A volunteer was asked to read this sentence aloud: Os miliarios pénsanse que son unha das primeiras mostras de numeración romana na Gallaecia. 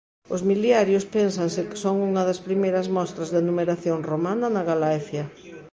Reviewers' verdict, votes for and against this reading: rejected, 0, 2